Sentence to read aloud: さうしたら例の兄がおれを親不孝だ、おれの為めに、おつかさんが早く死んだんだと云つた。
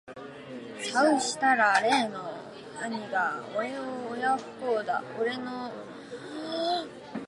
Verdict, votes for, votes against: rejected, 0, 2